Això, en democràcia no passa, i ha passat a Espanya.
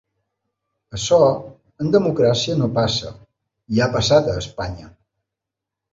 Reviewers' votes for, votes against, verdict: 3, 0, accepted